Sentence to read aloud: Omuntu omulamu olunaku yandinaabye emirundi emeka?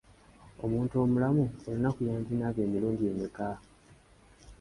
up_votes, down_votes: 2, 0